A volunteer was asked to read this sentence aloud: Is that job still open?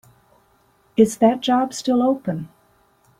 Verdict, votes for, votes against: accepted, 2, 0